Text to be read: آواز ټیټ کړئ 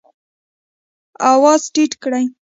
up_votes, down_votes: 1, 2